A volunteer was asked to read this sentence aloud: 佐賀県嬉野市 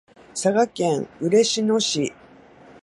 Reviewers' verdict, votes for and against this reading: accepted, 2, 1